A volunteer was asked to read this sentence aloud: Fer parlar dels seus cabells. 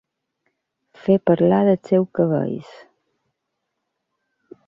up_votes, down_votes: 1, 2